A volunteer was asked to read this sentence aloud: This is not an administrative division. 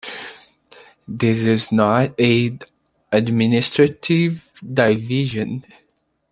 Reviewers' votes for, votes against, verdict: 1, 2, rejected